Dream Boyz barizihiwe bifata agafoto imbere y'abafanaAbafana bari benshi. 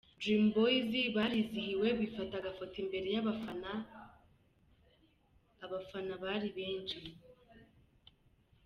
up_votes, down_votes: 2, 3